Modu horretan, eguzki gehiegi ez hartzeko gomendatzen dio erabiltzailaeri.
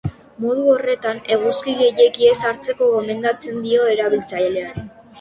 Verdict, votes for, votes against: rejected, 0, 2